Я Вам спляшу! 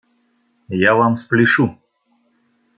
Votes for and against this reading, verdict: 2, 0, accepted